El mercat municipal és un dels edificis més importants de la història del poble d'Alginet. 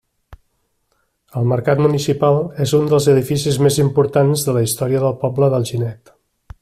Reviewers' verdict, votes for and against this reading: accepted, 2, 1